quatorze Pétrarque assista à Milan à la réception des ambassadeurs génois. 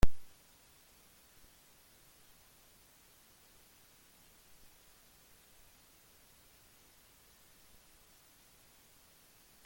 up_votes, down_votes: 0, 2